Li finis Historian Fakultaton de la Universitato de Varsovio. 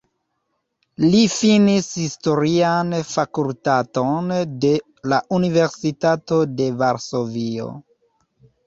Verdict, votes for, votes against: rejected, 1, 2